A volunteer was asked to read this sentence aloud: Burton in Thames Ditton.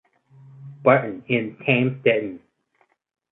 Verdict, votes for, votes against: rejected, 2, 2